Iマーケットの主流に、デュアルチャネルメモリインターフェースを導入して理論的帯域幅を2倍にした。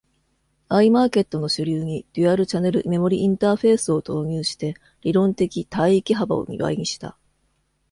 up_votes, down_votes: 0, 2